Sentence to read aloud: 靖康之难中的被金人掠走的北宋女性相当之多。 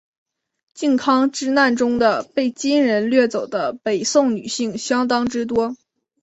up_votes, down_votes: 3, 0